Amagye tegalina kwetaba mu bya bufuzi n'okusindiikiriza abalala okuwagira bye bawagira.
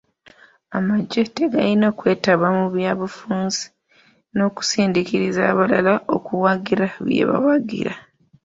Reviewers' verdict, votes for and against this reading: rejected, 0, 2